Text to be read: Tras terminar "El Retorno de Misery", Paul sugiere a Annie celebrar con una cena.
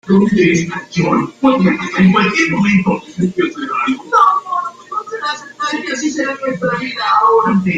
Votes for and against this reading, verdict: 0, 2, rejected